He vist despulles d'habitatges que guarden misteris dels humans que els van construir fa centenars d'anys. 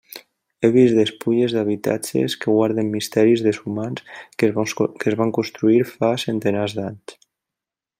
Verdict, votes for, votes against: rejected, 1, 2